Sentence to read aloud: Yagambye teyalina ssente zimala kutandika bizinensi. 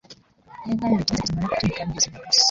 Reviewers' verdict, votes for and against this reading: rejected, 0, 2